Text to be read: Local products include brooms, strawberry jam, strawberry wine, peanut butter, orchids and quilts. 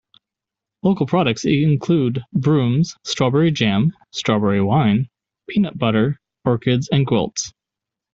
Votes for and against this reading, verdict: 2, 0, accepted